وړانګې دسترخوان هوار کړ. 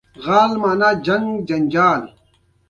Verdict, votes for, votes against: accepted, 2, 1